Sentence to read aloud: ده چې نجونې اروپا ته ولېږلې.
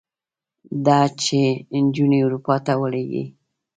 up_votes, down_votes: 2, 0